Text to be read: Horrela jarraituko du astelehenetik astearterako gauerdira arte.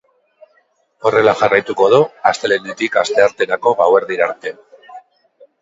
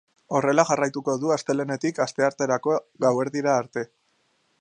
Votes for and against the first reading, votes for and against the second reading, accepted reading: 1, 2, 2, 0, second